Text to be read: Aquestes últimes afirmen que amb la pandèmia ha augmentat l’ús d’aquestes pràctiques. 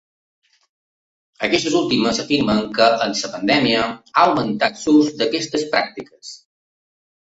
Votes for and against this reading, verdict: 2, 1, accepted